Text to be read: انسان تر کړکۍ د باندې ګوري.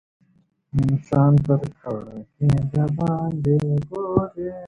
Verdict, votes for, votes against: rejected, 1, 2